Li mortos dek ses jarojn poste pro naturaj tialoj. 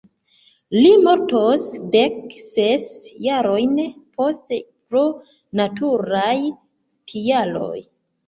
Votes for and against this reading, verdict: 2, 0, accepted